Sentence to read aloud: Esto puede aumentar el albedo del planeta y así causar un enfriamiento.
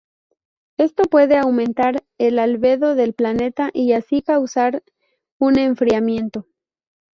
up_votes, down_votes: 0, 2